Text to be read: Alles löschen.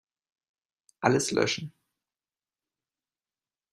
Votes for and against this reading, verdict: 2, 0, accepted